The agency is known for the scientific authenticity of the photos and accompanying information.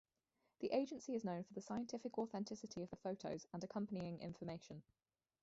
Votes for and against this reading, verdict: 0, 2, rejected